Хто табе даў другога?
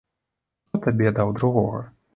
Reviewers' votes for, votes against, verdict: 0, 2, rejected